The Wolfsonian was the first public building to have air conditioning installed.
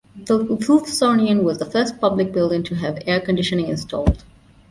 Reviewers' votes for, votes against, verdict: 2, 0, accepted